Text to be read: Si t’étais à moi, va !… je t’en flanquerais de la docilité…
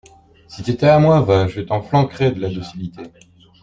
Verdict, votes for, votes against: rejected, 1, 2